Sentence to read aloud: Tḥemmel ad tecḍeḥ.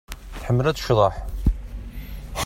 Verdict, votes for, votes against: accepted, 2, 0